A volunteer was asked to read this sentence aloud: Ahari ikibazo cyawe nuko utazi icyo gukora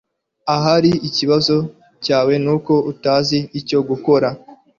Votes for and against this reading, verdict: 2, 0, accepted